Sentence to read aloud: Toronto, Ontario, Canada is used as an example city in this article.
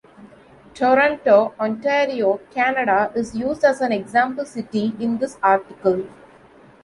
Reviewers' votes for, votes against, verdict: 2, 0, accepted